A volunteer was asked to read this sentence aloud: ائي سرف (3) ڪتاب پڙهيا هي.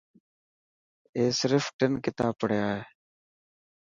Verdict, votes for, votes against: rejected, 0, 2